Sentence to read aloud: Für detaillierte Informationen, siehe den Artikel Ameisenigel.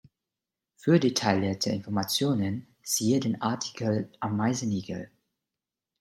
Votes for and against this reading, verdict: 1, 2, rejected